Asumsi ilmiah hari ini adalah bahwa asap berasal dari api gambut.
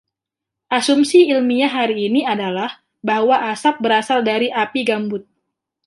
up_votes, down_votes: 2, 0